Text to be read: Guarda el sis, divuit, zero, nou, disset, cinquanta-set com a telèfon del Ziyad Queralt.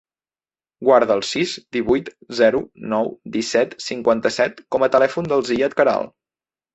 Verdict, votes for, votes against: accepted, 3, 0